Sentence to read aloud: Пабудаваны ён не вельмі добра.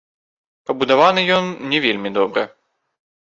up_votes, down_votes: 0, 2